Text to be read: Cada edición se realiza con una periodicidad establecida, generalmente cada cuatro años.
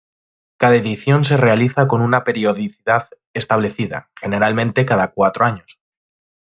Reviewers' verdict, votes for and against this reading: accepted, 2, 0